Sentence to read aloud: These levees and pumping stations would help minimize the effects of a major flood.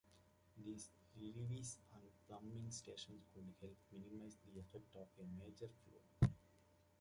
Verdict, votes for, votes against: rejected, 0, 2